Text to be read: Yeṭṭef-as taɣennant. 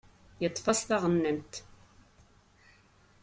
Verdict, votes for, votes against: accepted, 2, 0